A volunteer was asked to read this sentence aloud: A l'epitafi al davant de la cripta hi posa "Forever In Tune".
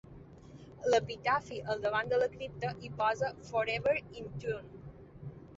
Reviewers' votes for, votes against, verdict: 0, 2, rejected